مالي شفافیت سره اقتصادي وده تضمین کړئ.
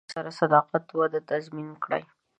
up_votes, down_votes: 2, 5